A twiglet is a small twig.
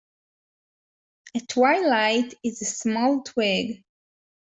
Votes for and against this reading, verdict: 0, 2, rejected